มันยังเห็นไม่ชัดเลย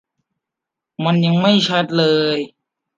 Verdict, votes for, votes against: rejected, 0, 2